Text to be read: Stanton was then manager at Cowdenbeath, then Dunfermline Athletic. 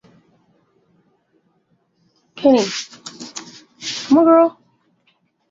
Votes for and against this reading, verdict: 0, 3, rejected